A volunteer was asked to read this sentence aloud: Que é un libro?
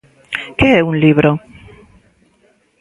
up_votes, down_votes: 1, 2